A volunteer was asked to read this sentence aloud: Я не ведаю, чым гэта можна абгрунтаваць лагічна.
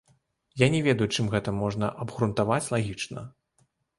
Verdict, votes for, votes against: rejected, 1, 2